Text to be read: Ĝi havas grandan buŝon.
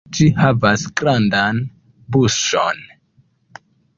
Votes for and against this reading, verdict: 2, 0, accepted